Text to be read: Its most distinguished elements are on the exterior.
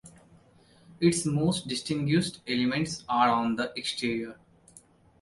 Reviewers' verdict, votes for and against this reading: rejected, 0, 2